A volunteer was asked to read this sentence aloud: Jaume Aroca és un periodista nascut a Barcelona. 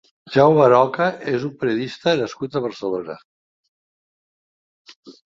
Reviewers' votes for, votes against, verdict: 2, 0, accepted